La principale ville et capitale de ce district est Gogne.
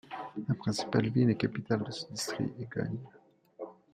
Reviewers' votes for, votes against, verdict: 1, 2, rejected